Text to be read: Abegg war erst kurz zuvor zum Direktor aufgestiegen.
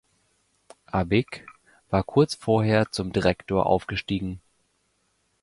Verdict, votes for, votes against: rejected, 1, 2